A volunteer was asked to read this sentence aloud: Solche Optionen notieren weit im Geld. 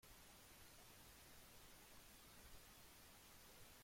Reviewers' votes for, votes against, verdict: 0, 2, rejected